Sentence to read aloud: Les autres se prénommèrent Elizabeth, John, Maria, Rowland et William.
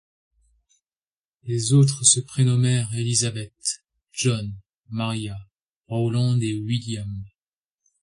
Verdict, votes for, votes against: accepted, 2, 1